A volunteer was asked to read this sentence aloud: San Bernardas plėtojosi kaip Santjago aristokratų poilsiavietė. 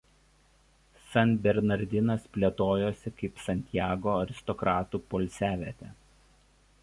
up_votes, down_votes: 1, 2